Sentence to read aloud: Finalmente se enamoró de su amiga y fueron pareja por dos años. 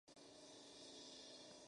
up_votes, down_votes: 0, 4